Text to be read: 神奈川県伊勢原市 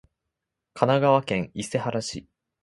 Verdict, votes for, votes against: accepted, 2, 0